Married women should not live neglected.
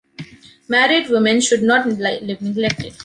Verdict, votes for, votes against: rejected, 0, 2